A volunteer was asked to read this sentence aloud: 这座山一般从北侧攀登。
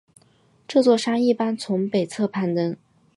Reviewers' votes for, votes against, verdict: 4, 0, accepted